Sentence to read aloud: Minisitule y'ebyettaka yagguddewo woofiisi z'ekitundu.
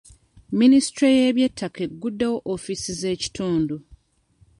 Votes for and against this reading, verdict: 2, 3, rejected